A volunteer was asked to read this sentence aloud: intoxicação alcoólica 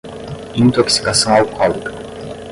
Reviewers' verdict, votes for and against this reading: rejected, 5, 5